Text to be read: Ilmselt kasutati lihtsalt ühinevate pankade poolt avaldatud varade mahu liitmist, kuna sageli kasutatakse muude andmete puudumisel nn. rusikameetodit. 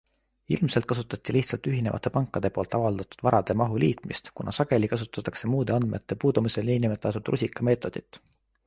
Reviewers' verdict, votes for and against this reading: accepted, 2, 0